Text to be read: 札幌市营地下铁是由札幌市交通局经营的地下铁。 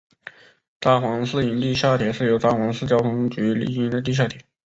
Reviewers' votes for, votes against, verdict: 6, 1, accepted